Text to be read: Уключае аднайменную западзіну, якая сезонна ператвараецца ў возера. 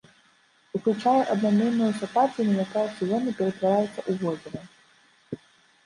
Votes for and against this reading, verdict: 1, 2, rejected